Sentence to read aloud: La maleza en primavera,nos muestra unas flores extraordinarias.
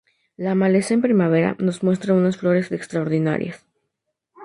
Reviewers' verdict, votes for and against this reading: accepted, 2, 0